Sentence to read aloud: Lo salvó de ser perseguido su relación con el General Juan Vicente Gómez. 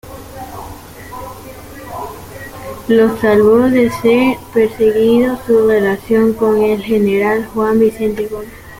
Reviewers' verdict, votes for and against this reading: rejected, 0, 2